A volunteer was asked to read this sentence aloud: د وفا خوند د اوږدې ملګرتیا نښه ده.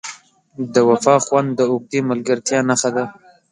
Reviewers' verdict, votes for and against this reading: accepted, 2, 0